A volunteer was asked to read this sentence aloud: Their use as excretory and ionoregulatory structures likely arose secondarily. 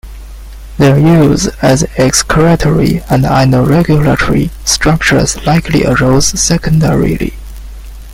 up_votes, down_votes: 0, 2